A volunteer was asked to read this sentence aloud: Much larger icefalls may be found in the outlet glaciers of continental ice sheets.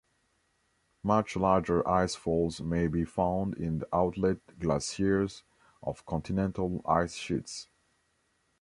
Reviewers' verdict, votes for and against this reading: accepted, 2, 1